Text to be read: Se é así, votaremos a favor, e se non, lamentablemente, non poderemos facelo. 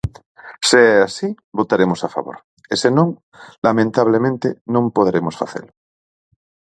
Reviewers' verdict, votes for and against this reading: accepted, 6, 0